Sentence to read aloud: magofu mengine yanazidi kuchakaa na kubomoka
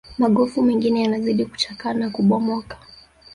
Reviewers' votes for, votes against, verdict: 0, 2, rejected